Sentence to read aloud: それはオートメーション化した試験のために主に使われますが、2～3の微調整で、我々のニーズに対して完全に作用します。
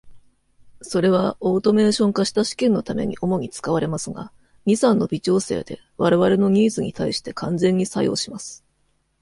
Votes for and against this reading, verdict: 0, 2, rejected